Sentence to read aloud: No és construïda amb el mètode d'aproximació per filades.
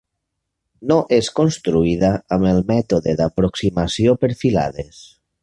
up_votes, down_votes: 3, 0